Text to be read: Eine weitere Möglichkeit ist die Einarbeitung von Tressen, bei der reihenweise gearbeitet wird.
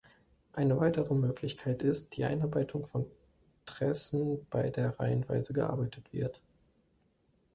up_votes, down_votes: 2, 0